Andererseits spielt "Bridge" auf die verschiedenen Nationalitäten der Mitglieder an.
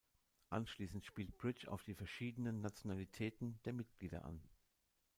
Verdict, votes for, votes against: rejected, 0, 2